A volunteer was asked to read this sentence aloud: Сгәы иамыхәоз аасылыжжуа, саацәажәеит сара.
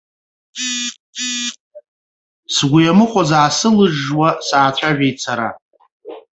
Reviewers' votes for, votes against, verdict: 1, 2, rejected